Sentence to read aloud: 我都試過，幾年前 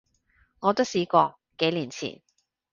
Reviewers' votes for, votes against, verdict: 2, 0, accepted